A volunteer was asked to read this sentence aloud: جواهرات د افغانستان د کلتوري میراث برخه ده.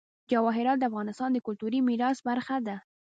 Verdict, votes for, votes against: rejected, 0, 2